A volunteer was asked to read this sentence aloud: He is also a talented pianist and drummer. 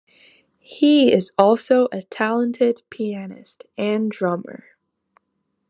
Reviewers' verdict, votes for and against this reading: accepted, 2, 0